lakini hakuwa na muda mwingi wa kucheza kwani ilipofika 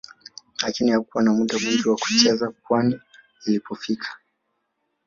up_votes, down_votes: 0, 2